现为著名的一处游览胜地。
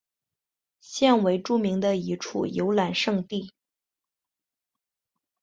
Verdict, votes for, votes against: accepted, 9, 0